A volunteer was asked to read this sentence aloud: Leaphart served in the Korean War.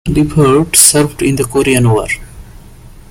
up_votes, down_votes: 2, 1